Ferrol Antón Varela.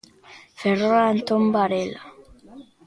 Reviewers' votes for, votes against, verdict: 2, 0, accepted